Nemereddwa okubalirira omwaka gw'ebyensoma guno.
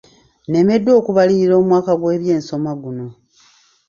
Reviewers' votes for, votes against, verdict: 0, 2, rejected